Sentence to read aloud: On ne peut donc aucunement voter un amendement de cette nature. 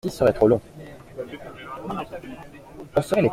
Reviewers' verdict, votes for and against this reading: rejected, 0, 2